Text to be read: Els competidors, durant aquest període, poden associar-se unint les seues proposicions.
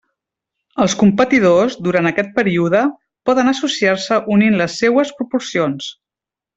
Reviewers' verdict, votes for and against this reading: rejected, 0, 2